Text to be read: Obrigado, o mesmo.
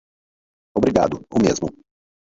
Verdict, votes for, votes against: rejected, 2, 2